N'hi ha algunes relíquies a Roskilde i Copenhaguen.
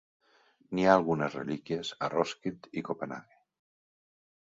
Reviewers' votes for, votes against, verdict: 3, 0, accepted